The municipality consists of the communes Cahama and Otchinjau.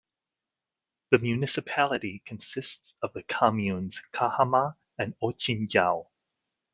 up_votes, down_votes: 2, 0